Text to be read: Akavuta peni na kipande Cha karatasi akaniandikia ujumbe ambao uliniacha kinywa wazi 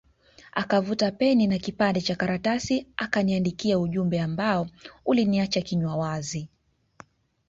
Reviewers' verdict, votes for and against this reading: accepted, 3, 0